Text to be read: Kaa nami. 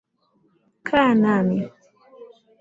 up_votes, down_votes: 7, 2